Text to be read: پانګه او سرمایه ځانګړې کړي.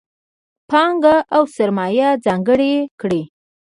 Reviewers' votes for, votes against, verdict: 2, 0, accepted